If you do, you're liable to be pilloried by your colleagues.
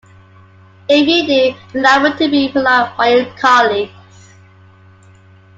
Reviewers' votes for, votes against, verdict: 0, 2, rejected